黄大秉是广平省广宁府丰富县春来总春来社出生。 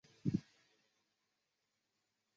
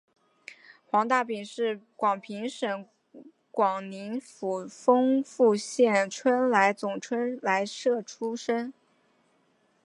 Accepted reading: second